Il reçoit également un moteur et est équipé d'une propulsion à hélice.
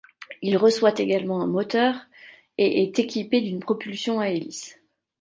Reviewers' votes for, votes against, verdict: 2, 0, accepted